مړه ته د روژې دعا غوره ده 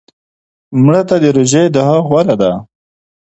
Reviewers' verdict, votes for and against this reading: accepted, 2, 0